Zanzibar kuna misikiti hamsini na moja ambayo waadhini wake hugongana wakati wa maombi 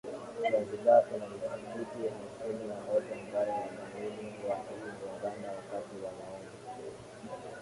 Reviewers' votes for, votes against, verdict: 0, 2, rejected